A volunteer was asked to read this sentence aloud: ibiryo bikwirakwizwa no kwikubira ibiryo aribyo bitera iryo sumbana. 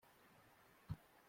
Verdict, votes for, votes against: rejected, 0, 2